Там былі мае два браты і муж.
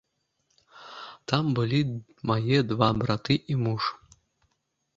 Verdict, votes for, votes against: accepted, 2, 0